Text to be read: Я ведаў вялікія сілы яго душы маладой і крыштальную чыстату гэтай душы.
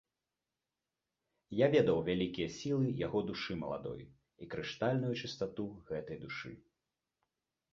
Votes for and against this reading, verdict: 2, 0, accepted